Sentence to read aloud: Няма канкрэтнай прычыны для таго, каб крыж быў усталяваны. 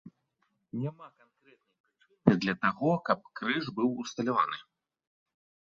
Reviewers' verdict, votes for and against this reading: rejected, 1, 2